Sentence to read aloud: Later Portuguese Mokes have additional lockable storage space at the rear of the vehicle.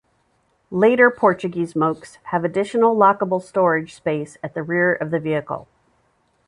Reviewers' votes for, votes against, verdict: 2, 0, accepted